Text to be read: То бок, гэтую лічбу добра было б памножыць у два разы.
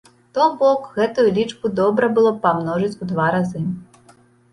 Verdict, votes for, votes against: accepted, 2, 0